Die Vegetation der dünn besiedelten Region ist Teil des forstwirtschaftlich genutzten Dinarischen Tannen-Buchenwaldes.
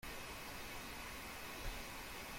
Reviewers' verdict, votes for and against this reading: rejected, 0, 2